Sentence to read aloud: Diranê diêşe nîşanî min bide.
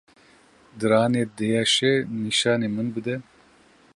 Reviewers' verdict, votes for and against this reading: accepted, 2, 0